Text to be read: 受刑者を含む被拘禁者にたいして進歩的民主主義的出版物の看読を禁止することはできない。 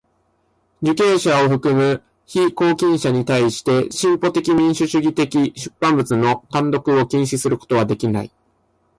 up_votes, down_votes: 1, 2